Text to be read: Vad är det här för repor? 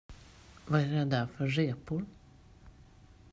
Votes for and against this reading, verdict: 1, 2, rejected